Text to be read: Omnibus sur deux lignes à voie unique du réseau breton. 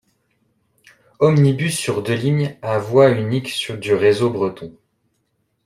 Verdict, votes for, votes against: rejected, 0, 2